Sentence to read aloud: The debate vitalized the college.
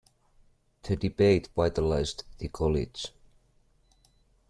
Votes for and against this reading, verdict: 2, 0, accepted